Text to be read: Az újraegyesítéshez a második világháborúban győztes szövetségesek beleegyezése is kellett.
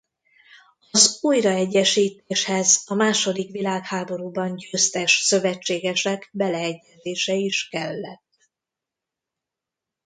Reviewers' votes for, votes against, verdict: 1, 2, rejected